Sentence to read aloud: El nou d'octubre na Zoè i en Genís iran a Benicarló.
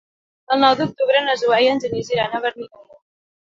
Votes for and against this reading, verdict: 0, 2, rejected